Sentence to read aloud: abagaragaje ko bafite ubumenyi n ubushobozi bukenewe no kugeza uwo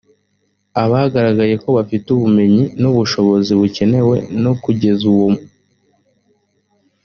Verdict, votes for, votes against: rejected, 1, 2